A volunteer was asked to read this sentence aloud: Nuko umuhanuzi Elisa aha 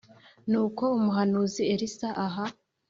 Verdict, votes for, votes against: accepted, 2, 0